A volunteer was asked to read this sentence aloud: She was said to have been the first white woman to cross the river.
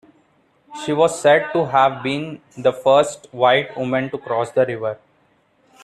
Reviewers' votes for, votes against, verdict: 2, 0, accepted